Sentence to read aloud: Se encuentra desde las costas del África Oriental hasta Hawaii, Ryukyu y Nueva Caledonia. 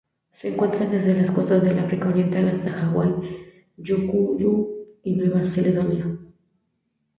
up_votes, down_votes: 0, 2